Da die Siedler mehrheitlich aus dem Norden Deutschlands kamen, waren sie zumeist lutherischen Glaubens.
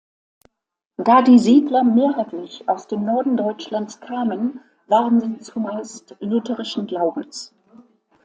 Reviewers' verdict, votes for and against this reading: accepted, 2, 0